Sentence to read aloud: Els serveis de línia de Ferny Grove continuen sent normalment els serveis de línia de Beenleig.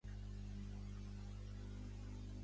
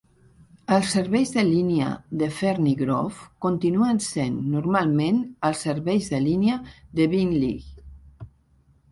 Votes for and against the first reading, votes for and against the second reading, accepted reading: 0, 2, 2, 0, second